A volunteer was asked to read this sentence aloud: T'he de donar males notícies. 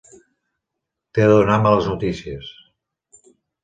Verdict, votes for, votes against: accepted, 2, 1